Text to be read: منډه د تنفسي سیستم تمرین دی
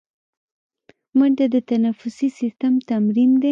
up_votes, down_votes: 0, 2